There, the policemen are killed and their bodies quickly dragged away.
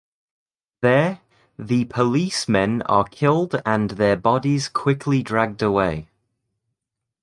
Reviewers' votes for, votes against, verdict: 2, 0, accepted